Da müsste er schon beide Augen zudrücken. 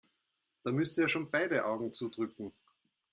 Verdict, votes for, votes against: accepted, 2, 0